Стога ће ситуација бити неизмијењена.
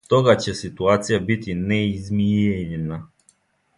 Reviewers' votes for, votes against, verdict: 2, 0, accepted